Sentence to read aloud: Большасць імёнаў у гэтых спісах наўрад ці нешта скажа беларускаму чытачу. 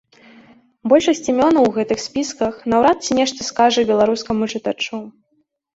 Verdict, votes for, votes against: rejected, 1, 2